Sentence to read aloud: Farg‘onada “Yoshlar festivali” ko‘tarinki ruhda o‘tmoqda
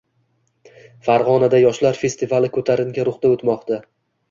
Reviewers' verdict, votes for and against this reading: accepted, 2, 0